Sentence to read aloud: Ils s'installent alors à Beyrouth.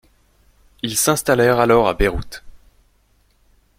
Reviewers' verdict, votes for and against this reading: rejected, 0, 2